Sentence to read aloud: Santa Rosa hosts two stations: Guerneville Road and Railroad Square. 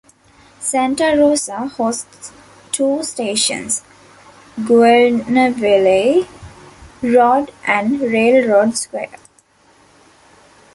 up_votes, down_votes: 1, 2